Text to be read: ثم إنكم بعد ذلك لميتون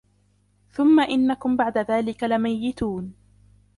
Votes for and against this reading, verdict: 2, 1, accepted